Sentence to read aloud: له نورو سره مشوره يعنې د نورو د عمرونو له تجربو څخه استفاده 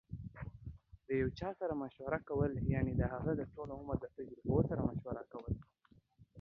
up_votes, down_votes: 0, 2